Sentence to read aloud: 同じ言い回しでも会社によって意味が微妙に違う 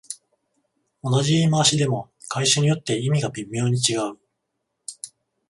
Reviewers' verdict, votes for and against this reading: accepted, 14, 0